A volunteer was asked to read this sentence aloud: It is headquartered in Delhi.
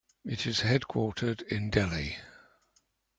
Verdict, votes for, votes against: accepted, 2, 0